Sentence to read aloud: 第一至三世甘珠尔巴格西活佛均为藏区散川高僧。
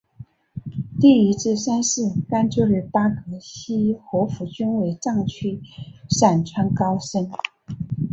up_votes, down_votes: 1, 2